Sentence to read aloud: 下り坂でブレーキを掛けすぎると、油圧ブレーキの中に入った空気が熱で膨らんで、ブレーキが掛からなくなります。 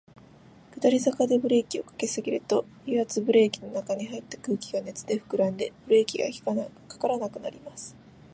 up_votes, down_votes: 0, 2